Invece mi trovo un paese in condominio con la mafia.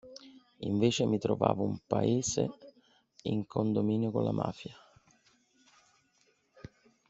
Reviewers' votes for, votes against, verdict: 3, 4, rejected